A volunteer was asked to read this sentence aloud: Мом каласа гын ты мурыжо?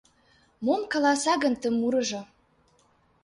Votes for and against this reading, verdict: 2, 0, accepted